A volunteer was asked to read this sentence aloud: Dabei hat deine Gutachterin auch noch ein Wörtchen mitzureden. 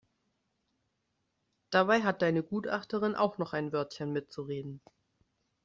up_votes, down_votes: 2, 0